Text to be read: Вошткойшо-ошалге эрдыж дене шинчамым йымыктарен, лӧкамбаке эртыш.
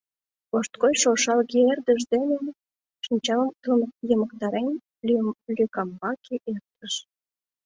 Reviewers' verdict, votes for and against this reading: rejected, 1, 2